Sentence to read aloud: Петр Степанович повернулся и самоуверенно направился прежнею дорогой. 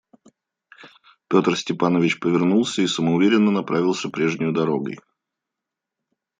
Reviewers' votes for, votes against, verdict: 2, 0, accepted